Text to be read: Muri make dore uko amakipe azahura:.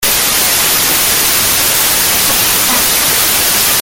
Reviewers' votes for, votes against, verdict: 0, 2, rejected